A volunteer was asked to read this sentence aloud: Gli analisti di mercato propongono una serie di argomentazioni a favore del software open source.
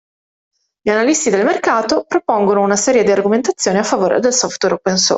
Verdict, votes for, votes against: rejected, 0, 2